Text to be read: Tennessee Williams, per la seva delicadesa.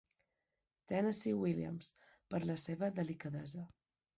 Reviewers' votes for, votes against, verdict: 2, 0, accepted